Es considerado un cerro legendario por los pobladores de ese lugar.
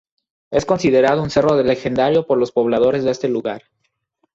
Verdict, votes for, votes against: rejected, 2, 4